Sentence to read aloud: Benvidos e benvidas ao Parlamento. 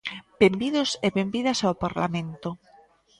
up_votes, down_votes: 2, 0